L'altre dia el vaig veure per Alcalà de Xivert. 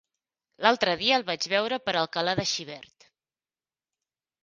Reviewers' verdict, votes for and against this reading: accepted, 4, 0